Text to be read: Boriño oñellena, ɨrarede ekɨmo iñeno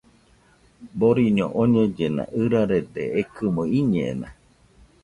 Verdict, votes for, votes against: rejected, 1, 2